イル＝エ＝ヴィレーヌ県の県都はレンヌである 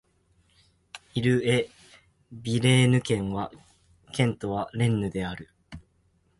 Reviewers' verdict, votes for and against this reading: accepted, 2, 0